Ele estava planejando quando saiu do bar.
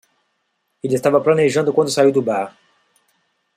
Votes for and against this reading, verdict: 2, 0, accepted